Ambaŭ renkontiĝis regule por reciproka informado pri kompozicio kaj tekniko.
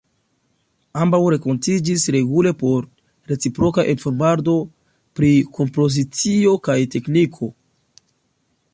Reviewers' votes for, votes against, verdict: 2, 1, accepted